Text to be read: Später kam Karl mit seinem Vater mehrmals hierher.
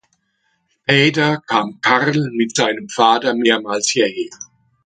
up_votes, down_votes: 0, 2